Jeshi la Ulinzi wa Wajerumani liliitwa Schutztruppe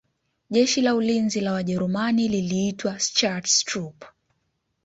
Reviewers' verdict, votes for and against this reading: accepted, 2, 0